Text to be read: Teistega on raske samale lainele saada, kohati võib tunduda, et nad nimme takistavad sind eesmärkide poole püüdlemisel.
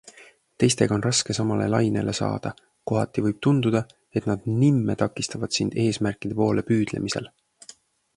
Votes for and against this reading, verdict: 2, 0, accepted